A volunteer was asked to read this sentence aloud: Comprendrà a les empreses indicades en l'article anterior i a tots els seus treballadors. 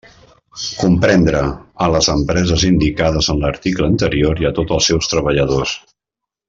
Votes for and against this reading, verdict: 1, 2, rejected